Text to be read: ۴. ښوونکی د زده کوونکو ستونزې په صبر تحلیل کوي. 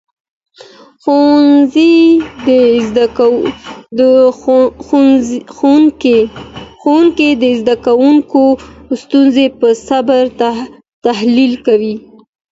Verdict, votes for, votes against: rejected, 0, 2